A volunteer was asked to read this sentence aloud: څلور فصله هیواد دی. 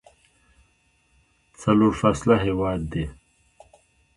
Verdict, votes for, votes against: rejected, 0, 2